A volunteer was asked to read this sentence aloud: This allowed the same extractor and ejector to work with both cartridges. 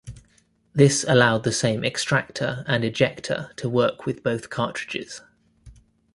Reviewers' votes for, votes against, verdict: 2, 0, accepted